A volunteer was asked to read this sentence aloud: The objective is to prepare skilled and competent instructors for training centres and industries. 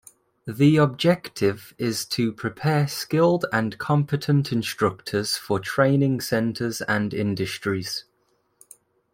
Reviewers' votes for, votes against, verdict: 2, 0, accepted